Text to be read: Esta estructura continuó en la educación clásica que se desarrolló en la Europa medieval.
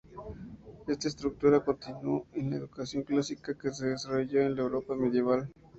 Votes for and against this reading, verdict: 2, 0, accepted